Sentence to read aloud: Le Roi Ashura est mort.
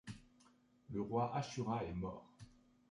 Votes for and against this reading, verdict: 2, 1, accepted